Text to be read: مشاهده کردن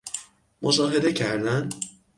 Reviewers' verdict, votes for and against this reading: accepted, 6, 0